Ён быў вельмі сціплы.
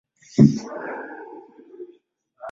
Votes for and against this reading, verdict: 0, 2, rejected